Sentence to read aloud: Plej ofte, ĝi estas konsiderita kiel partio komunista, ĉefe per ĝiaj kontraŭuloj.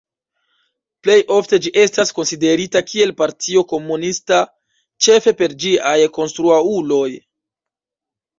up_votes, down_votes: 0, 2